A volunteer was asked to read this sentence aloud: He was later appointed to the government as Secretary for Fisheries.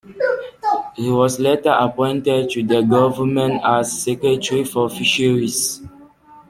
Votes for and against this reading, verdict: 2, 1, accepted